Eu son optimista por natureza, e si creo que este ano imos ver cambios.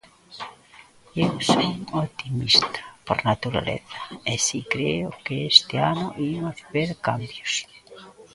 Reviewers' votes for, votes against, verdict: 0, 2, rejected